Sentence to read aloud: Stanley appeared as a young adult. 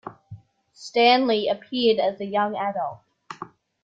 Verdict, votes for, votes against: accepted, 2, 0